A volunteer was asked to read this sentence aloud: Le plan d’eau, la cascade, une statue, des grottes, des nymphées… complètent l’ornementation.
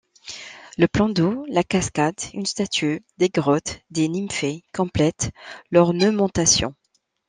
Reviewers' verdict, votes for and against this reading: rejected, 1, 2